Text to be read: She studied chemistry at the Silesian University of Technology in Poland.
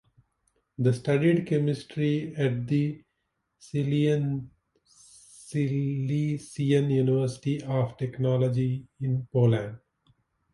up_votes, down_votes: 0, 2